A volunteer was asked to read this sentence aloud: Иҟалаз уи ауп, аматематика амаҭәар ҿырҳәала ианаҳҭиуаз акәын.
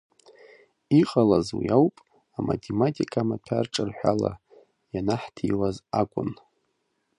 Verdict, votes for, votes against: rejected, 1, 2